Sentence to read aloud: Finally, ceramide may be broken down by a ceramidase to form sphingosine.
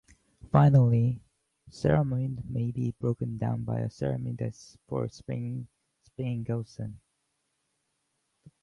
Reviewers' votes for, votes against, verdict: 0, 2, rejected